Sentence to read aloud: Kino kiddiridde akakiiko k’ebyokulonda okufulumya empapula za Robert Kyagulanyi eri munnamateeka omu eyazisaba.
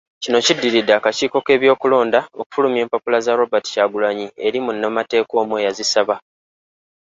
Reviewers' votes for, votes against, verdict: 3, 0, accepted